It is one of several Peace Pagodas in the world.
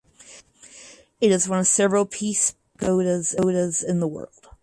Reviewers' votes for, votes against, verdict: 0, 4, rejected